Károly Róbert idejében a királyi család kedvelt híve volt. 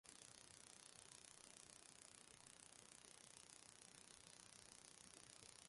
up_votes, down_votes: 0, 2